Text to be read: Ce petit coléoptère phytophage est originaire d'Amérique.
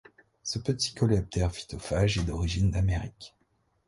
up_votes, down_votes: 1, 2